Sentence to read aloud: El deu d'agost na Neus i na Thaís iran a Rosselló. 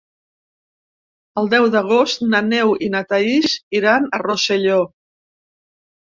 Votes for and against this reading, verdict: 2, 1, accepted